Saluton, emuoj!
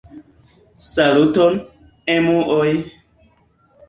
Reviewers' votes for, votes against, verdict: 2, 0, accepted